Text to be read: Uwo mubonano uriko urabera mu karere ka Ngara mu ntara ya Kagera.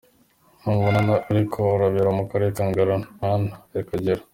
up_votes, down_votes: 0, 2